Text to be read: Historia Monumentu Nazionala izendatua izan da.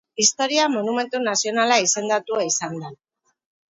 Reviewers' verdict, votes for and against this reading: accepted, 4, 0